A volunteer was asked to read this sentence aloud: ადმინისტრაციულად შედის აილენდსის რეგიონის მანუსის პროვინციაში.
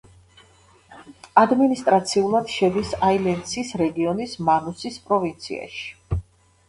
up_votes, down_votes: 2, 0